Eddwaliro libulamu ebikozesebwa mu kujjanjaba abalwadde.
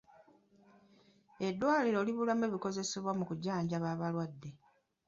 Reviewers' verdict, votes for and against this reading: rejected, 0, 2